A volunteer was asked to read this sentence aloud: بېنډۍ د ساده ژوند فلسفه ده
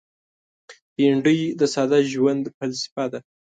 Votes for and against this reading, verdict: 2, 0, accepted